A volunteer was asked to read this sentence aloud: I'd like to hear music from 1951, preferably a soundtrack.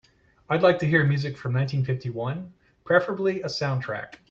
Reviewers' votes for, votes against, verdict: 0, 2, rejected